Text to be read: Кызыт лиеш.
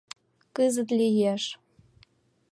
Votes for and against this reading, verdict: 2, 0, accepted